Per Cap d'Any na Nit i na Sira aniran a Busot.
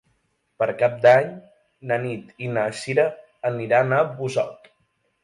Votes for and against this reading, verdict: 2, 0, accepted